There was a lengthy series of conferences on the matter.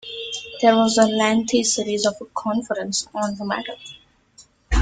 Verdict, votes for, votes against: rejected, 0, 2